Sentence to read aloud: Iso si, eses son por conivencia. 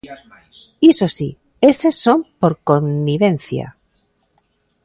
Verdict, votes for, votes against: accepted, 2, 1